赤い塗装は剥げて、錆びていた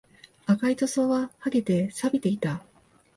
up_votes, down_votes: 2, 0